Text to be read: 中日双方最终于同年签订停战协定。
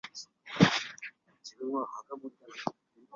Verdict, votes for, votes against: rejected, 1, 4